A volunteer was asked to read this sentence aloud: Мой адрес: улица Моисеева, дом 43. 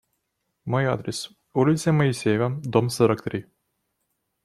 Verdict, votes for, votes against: rejected, 0, 2